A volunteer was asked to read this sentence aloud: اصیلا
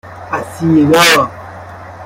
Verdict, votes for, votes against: rejected, 0, 2